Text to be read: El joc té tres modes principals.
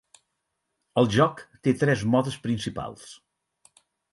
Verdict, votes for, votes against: accepted, 6, 0